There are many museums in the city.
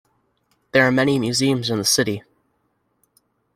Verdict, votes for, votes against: accepted, 2, 0